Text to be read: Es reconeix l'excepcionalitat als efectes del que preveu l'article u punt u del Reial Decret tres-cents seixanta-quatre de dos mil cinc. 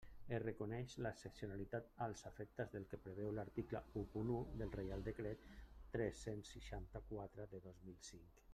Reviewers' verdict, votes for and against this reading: rejected, 0, 2